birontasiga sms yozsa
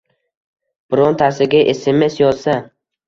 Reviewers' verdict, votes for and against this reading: accepted, 2, 1